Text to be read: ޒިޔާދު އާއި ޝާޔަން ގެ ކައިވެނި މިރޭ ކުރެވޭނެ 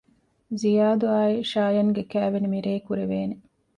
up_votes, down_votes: 2, 0